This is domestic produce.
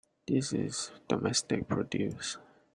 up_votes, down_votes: 2, 1